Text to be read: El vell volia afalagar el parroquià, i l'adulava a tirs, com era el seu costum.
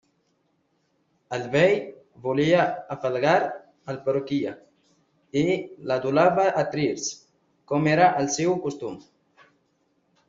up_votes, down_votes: 1, 2